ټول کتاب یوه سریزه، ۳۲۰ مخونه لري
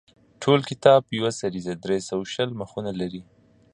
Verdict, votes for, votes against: rejected, 0, 2